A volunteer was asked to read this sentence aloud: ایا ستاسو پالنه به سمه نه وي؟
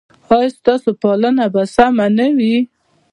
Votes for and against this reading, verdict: 2, 0, accepted